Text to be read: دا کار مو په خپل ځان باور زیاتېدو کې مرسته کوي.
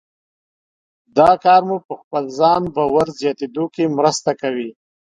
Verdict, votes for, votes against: accepted, 3, 0